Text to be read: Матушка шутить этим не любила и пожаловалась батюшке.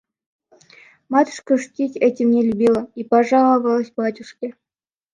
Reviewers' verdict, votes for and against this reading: accepted, 2, 0